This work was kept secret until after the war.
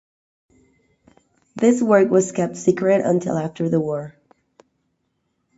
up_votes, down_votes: 2, 0